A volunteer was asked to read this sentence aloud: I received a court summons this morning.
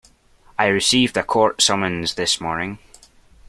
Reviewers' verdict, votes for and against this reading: accepted, 2, 0